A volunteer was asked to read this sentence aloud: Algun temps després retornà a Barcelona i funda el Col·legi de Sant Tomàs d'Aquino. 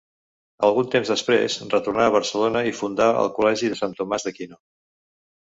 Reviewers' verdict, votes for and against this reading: rejected, 0, 2